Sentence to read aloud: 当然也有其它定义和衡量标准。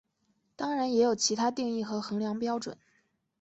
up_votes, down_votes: 2, 0